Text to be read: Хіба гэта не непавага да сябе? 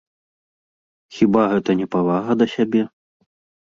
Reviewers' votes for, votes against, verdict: 1, 2, rejected